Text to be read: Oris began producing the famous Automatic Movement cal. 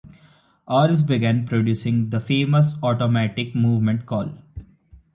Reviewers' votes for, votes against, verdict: 3, 1, accepted